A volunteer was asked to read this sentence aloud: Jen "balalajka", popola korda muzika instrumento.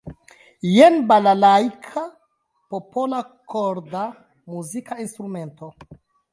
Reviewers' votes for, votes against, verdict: 2, 1, accepted